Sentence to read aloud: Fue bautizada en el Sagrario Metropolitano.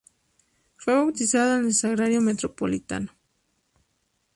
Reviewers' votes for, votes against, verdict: 0, 2, rejected